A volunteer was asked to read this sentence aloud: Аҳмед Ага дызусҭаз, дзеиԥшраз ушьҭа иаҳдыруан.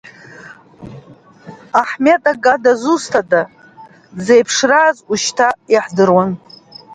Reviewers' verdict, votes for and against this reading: rejected, 0, 2